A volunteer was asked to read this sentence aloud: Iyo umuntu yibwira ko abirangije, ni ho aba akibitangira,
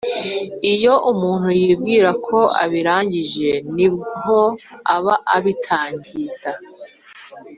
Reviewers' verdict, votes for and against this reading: rejected, 1, 2